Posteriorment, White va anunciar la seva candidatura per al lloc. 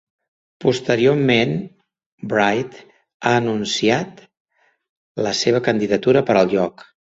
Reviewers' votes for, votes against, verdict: 1, 2, rejected